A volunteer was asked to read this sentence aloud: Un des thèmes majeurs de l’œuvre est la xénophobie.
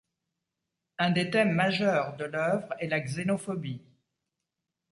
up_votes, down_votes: 2, 0